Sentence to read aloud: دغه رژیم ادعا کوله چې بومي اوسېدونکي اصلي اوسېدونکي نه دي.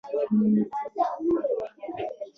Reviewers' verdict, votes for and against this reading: rejected, 1, 2